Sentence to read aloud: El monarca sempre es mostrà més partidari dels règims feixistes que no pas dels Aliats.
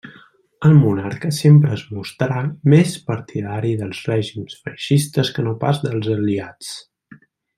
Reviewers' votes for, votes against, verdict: 2, 0, accepted